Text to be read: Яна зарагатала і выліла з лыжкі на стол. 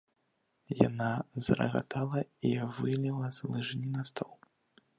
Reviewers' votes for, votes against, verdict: 1, 2, rejected